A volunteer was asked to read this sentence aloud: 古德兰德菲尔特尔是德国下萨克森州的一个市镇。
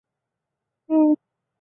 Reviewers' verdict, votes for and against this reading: rejected, 0, 4